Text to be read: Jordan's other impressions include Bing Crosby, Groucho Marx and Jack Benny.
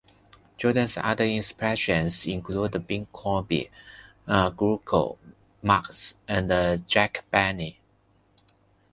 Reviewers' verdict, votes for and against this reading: rejected, 0, 2